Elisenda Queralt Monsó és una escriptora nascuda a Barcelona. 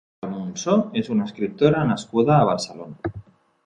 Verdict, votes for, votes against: rejected, 0, 2